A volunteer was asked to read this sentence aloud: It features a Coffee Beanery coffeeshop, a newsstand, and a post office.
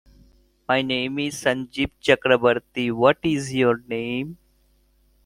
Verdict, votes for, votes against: rejected, 0, 2